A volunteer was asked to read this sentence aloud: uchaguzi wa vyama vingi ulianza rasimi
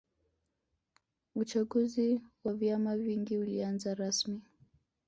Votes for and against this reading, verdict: 2, 1, accepted